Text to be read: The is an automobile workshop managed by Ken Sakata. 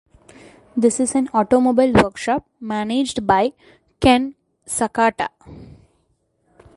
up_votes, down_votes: 2, 0